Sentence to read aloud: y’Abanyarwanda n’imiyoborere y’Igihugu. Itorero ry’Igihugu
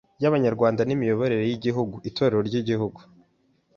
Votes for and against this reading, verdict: 3, 0, accepted